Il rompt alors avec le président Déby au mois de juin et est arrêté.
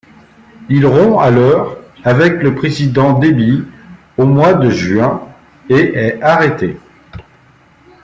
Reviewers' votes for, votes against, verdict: 2, 0, accepted